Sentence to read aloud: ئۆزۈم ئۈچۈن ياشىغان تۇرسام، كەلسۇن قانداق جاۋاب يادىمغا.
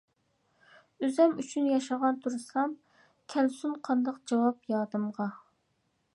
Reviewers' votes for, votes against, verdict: 2, 0, accepted